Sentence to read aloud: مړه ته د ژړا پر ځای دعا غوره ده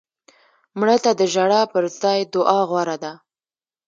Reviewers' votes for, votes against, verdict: 2, 0, accepted